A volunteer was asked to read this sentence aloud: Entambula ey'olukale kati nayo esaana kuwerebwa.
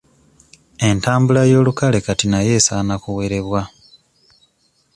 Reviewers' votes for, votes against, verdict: 2, 1, accepted